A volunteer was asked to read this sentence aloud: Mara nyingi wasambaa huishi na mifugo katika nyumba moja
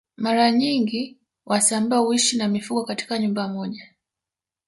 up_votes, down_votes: 1, 2